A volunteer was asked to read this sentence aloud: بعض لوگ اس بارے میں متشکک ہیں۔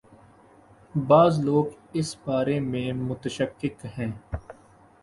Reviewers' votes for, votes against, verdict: 3, 0, accepted